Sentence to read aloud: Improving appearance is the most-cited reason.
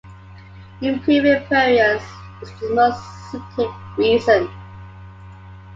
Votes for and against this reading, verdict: 1, 3, rejected